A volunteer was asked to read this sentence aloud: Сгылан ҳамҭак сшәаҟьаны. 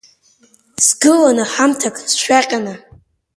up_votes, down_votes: 4, 0